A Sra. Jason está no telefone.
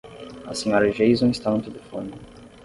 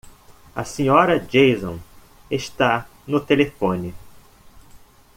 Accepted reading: second